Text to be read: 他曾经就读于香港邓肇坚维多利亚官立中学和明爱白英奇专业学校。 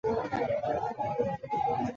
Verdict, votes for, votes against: rejected, 1, 3